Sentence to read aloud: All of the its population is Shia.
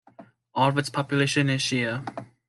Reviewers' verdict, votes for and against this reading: accepted, 2, 0